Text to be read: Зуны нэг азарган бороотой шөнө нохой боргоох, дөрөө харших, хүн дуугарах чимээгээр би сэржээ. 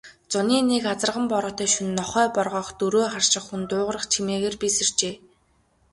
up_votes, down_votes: 2, 0